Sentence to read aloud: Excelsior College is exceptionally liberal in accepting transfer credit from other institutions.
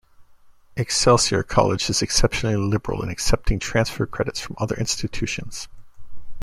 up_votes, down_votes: 2, 0